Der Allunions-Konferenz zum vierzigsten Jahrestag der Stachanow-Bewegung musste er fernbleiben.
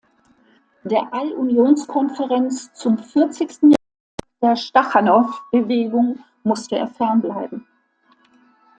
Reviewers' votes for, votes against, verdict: 1, 2, rejected